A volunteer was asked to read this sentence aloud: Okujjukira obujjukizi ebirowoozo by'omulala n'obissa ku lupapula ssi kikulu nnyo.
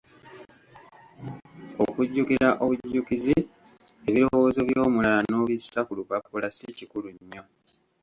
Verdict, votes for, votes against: rejected, 1, 2